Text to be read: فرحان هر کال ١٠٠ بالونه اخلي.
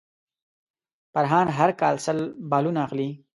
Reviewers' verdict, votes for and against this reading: rejected, 0, 2